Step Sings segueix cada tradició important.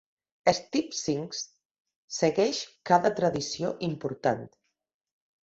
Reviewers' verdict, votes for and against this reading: rejected, 1, 2